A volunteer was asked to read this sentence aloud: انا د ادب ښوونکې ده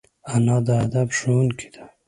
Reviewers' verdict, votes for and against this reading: accepted, 2, 0